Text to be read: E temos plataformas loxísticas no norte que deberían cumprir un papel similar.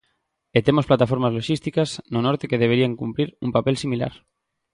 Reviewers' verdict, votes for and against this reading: accepted, 2, 0